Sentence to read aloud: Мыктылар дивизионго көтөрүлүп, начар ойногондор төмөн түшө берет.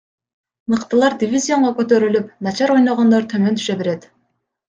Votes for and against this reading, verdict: 1, 2, rejected